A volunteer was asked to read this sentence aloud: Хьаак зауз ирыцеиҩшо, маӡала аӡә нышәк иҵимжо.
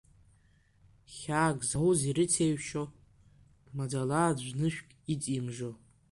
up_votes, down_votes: 2, 1